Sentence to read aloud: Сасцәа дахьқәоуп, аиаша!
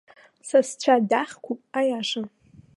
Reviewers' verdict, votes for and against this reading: accepted, 2, 0